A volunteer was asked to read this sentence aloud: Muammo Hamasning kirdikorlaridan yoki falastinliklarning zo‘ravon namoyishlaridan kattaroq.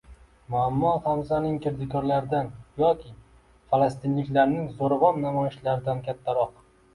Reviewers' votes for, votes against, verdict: 1, 2, rejected